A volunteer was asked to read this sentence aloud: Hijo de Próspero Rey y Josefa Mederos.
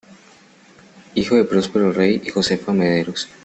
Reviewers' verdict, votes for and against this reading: accepted, 2, 0